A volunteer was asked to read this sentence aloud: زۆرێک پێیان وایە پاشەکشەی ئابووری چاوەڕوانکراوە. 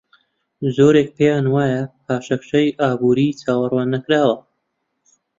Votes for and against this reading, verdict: 1, 2, rejected